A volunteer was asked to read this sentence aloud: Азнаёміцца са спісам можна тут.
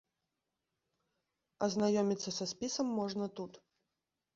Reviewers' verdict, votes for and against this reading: accepted, 2, 0